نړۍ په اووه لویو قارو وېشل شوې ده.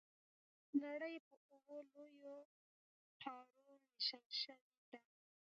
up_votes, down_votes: 0, 2